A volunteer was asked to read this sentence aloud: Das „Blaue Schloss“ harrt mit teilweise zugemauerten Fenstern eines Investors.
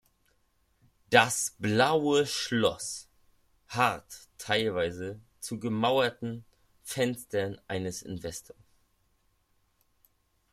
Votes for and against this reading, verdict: 0, 2, rejected